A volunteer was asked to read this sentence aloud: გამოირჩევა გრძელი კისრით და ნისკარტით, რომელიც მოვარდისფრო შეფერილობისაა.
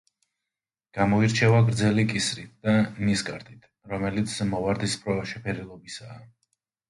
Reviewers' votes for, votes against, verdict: 2, 0, accepted